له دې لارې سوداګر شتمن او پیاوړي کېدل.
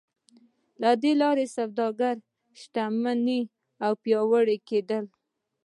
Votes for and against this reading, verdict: 2, 1, accepted